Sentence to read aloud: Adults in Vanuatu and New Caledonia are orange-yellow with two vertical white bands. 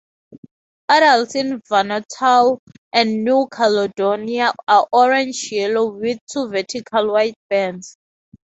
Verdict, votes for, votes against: rejected, 0, 2